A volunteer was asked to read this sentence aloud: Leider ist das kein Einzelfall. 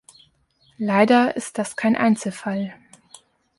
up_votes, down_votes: 2, 0